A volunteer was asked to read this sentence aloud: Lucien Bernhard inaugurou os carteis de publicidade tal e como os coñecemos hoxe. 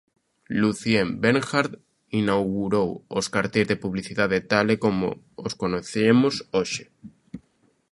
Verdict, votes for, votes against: rejected, 0, 2